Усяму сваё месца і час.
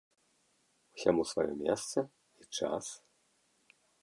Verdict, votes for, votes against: accepted, 2, 0